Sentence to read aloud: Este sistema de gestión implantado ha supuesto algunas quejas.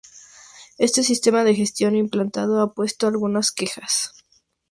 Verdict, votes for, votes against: rejected, 2, 2